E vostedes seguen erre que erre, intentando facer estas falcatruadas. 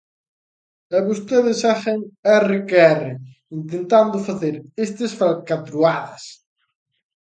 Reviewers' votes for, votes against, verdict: 2, 0, accepted